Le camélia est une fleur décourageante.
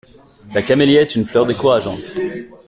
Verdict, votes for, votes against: rejected, 0, 2